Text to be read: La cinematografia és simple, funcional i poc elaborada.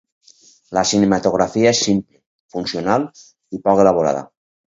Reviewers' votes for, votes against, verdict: 2, 4, rejected